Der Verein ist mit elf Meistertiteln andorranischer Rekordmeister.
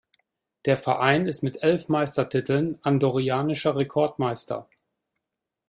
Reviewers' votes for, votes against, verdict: 0, 2, rejected